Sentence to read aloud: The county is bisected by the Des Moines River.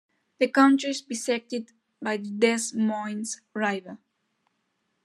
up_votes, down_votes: 1, 2